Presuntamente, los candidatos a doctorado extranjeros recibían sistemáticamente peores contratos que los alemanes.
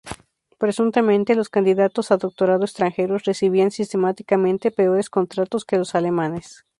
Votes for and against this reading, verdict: 2, 0, accepted